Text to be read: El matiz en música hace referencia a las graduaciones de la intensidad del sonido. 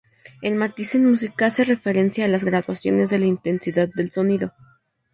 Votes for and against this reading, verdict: 0, 2, rejected